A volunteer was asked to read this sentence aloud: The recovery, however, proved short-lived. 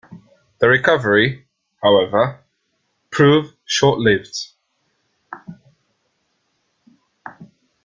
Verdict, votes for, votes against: accepted, 2, 0